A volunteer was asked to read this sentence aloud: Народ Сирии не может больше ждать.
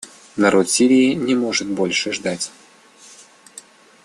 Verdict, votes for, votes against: accepted, 2, 0